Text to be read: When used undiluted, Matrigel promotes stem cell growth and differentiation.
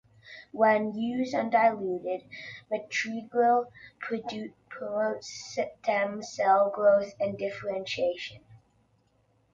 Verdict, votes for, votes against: rejected, 0, 2